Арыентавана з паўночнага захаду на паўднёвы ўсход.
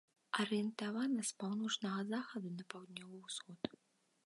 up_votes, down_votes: 2, 0